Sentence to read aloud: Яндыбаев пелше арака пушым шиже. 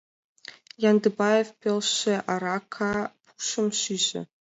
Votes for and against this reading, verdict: 2, 1, accepted